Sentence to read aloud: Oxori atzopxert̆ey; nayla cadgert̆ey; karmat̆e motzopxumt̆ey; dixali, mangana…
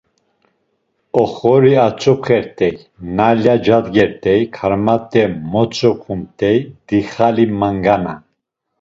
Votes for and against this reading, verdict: 2, 0, accepted